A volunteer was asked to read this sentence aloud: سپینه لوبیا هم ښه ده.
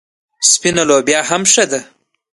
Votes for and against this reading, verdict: 2, 0, accepted